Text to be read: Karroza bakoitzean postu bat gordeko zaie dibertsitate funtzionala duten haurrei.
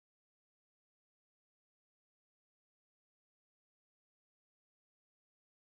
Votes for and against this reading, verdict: 0, 2, rejected